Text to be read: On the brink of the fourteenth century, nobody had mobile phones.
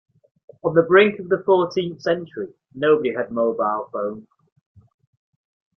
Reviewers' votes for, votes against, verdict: 4, 0, accepted